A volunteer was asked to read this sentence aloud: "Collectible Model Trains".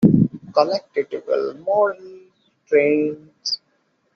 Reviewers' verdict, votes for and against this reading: rejected, 1, 2